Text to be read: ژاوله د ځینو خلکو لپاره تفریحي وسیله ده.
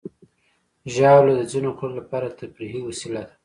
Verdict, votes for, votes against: rejected, 1, 2